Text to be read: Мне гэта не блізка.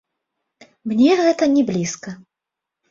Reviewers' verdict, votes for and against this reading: accepted, 2, 1